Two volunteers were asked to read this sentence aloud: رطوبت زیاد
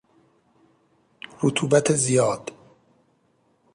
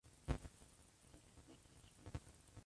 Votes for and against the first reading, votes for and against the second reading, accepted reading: 3, 0, 0, 2, first